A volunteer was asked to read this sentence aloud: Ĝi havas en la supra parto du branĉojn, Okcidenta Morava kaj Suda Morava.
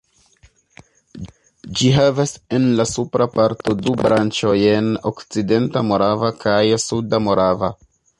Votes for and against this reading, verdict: 1, 2, rejected